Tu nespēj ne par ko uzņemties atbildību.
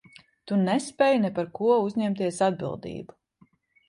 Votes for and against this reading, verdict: 2, 0, accepted